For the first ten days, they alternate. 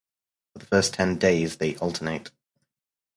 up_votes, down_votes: 2, 2